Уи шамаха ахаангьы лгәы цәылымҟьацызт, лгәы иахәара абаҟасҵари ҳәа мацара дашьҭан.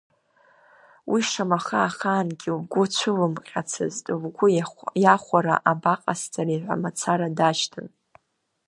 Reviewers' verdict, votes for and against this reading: rejected, 0, 2